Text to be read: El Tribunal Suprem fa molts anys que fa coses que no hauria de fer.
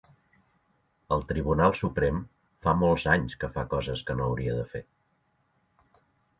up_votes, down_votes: 2, 0